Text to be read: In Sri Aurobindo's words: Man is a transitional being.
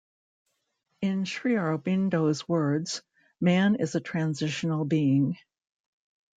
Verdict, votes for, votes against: accepted, 2, 0